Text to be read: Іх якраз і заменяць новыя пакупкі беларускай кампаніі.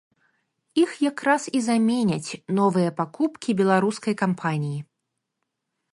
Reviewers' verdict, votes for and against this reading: accepted, 2, 0